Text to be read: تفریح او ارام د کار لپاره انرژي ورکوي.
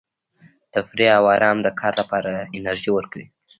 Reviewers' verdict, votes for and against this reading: rejected, 0, 2